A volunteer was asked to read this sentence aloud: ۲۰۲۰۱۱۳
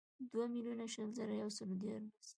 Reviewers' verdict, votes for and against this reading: rejected, 0, 2